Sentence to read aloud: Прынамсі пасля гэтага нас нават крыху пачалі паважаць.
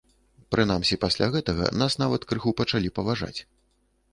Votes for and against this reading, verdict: 2, 0, accepted